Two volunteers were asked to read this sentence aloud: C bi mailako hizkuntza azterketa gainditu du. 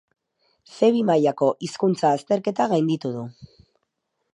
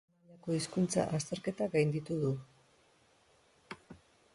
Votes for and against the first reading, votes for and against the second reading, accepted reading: 4, 0, 0, 2, first